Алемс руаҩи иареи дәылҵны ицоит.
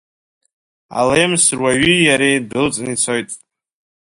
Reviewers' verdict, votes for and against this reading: accepted, 2, 0